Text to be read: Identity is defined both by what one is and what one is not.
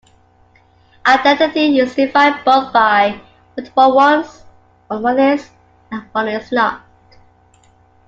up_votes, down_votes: 1, 2